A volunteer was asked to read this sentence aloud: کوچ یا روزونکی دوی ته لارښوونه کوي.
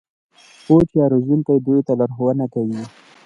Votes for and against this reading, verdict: 2, 0, accepted